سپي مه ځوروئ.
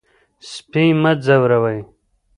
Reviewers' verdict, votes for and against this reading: rejected, 1, 2